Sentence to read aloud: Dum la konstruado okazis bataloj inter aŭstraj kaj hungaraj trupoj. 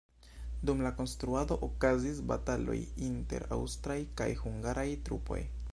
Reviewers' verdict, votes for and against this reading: rejected, 1, 2